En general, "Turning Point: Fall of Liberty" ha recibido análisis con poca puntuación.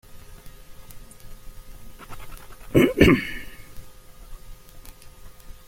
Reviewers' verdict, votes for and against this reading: rejected, 0, 2